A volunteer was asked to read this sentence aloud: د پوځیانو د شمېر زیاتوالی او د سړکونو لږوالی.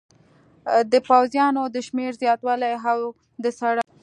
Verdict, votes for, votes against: rejected, 0, 2